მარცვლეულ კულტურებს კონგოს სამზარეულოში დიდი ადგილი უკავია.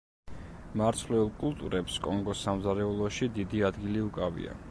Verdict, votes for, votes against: accepted, 2, 0